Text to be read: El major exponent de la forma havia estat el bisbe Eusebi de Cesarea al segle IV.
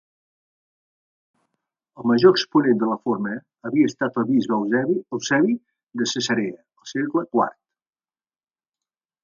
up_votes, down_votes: 0, 2